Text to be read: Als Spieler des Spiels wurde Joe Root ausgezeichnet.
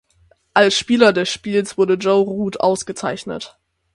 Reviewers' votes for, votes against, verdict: 6, 0, accepted